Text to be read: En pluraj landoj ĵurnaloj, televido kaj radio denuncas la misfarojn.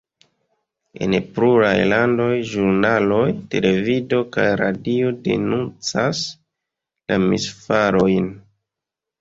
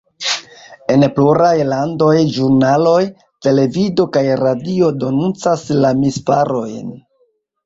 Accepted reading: first